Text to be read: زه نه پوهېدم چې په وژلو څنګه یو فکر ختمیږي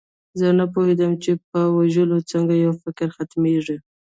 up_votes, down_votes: 2, 1